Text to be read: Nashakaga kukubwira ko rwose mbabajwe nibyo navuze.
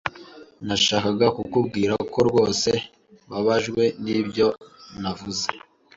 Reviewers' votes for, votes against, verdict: 2, 0, accepted